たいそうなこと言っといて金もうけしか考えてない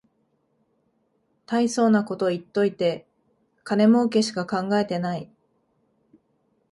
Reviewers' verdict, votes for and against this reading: accepted, 2, 0